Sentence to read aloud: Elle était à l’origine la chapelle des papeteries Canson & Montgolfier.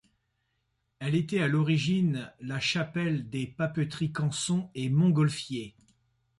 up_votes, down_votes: 2, 0